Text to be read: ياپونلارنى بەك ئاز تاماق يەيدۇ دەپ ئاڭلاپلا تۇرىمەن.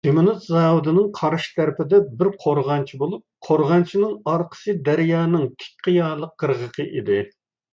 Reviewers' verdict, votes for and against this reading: rejected, 0, 2